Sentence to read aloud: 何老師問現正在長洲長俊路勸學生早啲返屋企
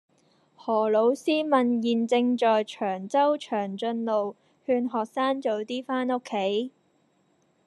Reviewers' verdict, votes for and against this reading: accepted, 2, 0